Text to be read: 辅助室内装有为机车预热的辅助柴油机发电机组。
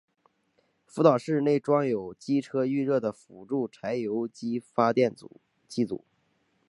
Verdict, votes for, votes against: rejected, 1, 2